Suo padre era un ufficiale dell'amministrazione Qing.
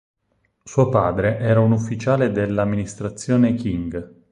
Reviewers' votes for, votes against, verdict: 2, 4, rejected